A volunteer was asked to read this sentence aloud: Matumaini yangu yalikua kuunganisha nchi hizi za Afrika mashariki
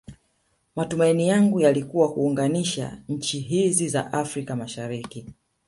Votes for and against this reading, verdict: 2, 0, accepted